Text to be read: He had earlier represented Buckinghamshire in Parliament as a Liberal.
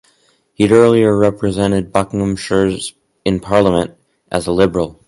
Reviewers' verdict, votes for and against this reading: rejected, 2, 2